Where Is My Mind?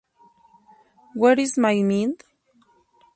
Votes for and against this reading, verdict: 2, 2, rejected